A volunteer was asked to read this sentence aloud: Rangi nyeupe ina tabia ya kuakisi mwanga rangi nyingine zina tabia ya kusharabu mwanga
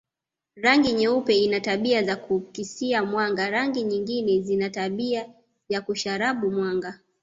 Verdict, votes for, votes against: rejected, 1, 2